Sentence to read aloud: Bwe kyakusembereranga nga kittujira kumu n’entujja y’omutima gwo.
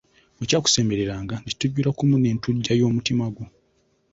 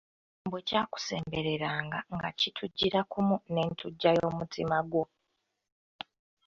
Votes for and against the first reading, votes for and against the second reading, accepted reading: 1, 2, 2, 0, second